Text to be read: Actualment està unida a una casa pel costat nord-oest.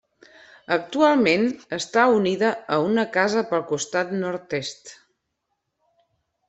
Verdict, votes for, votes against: rejected, 0, 2